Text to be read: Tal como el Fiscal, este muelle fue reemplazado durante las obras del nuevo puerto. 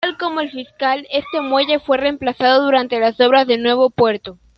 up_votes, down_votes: 2, 0